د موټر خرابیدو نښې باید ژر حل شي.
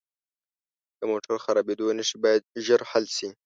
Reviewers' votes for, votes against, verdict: 2, 0, accepted